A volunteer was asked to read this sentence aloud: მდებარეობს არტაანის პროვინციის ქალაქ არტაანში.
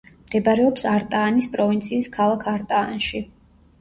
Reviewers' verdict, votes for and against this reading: accepted, 2, 0